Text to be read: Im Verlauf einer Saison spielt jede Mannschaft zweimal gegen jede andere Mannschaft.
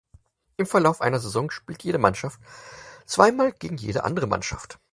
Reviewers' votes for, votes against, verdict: 4, 0, accepted